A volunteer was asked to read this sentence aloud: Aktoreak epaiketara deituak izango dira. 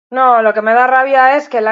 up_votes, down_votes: 0, 4